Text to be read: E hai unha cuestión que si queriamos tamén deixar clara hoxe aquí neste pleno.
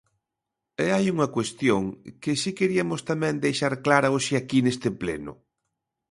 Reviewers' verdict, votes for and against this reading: rejected, 0, 2